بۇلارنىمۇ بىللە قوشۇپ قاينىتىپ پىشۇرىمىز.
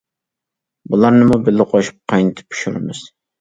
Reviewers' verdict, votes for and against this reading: accepted, 2, 0